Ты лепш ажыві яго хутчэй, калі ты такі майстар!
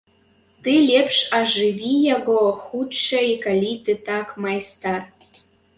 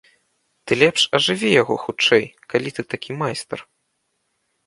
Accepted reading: second